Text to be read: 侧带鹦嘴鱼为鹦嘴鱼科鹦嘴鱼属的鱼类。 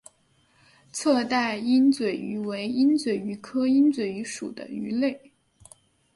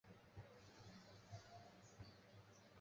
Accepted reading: first